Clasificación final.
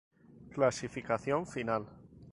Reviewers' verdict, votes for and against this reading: accepted, 4, 0